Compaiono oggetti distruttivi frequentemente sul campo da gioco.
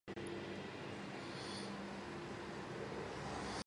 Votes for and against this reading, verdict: 0, 2, rejected